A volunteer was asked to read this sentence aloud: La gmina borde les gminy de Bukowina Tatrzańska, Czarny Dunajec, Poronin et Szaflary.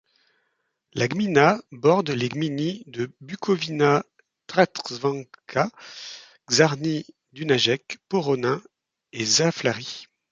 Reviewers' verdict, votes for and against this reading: rejected, 1, 2